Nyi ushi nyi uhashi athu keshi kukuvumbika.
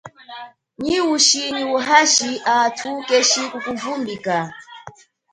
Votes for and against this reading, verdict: 0, 2, rejected